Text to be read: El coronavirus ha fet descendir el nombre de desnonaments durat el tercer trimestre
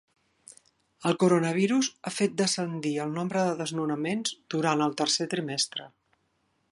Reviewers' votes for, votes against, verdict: 2, 0, accepted